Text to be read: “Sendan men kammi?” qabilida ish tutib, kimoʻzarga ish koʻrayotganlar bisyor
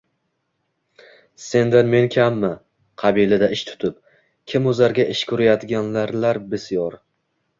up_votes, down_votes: 0, 2